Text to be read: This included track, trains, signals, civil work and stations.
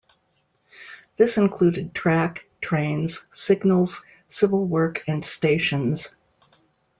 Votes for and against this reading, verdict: 2, 0, accepted